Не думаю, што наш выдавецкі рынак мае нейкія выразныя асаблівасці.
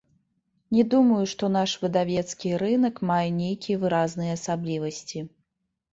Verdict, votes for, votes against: accepted, 2, 0